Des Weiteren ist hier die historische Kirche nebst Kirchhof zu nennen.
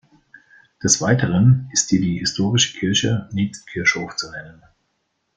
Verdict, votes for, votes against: accepted, 2, 0